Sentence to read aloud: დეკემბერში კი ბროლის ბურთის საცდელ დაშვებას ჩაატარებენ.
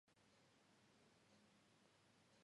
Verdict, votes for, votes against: rejected, 0, 2